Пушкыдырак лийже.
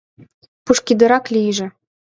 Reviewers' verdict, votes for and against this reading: accepted, 2, 0